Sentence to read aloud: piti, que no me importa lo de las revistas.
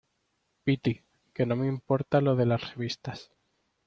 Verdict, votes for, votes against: accepted, 2, 0